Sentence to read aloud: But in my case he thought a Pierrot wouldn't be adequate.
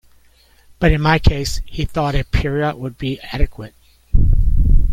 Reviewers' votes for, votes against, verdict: 1, 2, rejected